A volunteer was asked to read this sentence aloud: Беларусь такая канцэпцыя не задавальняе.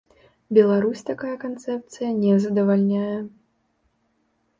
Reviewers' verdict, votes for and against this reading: accepted, 2, 0